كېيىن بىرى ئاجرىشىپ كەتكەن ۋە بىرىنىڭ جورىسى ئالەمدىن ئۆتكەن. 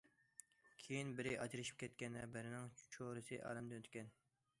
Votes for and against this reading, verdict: 0, 2, rejected